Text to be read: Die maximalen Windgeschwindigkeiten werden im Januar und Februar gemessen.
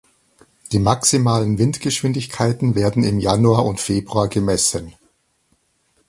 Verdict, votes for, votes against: accepted, 4, 0